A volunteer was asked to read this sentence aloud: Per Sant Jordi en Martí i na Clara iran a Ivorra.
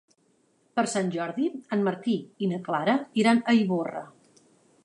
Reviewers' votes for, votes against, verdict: 3, 0, accepted